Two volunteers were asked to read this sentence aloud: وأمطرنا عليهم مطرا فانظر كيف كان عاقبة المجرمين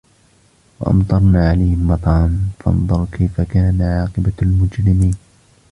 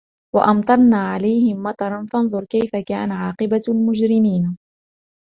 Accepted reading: second